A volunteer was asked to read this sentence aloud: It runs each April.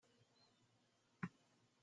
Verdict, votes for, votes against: rejected, 0, 2